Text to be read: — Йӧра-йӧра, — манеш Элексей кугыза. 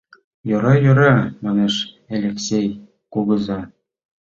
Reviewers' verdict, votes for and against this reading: accepted, 2, 0